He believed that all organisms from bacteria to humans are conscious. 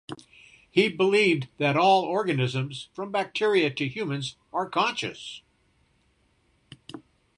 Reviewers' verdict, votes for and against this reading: accepted, 2, 0